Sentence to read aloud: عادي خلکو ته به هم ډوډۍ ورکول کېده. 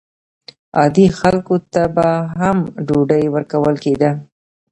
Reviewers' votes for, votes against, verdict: 1, 2, rejected